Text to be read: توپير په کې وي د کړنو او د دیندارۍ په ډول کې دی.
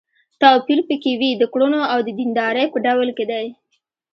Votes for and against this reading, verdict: 2, 0, accepted